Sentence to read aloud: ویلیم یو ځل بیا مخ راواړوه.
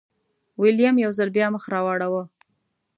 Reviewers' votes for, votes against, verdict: 2, 0, accepted